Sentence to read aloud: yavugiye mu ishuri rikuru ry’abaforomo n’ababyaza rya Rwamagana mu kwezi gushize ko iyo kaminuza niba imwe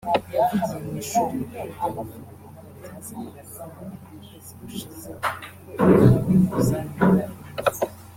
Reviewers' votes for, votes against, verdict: 0, 2, rejected